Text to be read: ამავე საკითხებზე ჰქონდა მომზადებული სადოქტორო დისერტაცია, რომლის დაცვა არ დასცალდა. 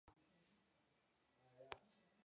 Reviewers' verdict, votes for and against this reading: rejected, 0, 2